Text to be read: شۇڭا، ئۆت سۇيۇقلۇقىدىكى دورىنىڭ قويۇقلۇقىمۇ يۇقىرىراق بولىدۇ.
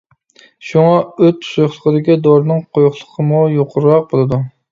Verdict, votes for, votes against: accepted, 2, 0